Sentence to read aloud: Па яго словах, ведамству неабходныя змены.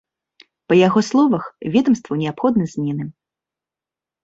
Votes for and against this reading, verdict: 0, 2, rejected